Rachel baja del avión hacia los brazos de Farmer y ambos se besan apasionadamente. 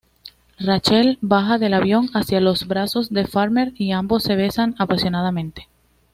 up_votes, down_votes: 2, 0